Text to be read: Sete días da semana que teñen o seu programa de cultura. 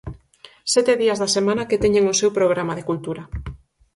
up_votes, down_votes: 4, 0